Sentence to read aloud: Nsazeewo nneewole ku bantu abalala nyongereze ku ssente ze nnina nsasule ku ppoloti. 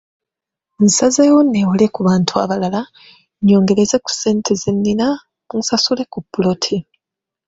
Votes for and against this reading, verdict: 0, 2, rejected